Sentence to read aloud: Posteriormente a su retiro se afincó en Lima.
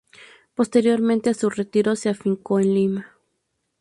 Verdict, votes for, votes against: accepted, 2, 0